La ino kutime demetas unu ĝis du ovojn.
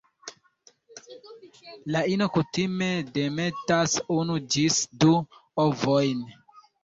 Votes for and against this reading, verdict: 1, 2, rejected